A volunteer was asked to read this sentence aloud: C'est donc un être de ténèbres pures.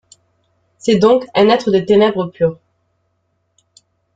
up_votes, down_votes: 2, 1